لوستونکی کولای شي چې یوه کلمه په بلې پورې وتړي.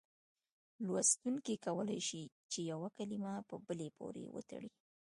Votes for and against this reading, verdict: 2, 0, accepted